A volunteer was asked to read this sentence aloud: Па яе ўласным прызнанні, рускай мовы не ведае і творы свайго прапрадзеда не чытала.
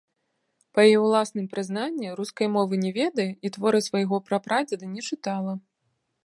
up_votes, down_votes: 2, 0